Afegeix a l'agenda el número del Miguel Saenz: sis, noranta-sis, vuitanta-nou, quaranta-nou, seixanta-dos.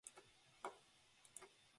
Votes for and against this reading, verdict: 0, 2, rejected